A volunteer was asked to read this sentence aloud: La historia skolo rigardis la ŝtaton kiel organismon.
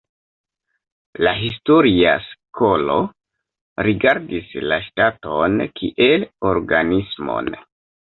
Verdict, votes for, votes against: rejected, 1, 2